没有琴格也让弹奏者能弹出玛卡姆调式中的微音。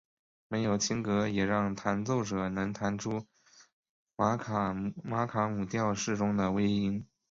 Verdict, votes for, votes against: accepted, 2, 1